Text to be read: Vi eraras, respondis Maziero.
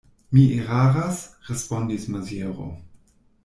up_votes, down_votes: 1, 2